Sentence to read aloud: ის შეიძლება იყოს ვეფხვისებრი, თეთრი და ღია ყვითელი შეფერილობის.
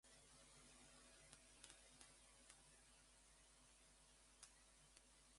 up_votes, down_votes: 0, 2